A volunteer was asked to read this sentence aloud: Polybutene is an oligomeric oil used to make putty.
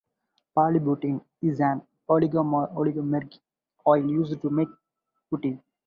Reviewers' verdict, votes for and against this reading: rejected, 2, 2